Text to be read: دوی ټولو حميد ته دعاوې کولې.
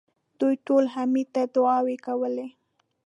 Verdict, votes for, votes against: accepted, 2, 0